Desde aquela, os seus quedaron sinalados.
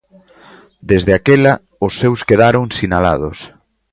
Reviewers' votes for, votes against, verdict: 2, 0, accepted